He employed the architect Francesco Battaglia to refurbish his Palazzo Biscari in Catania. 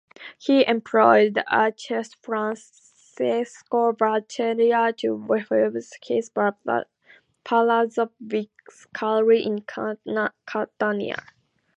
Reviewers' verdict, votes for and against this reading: accepted, 2, 0